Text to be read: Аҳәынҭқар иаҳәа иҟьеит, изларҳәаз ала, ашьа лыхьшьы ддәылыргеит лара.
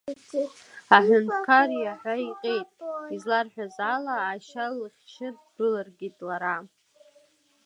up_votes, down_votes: 0, 2